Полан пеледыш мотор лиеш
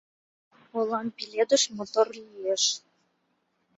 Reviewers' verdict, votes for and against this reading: accepted, 2, 0